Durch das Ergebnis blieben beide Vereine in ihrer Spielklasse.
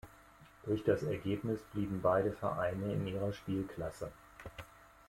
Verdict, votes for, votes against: accepted, 2, 0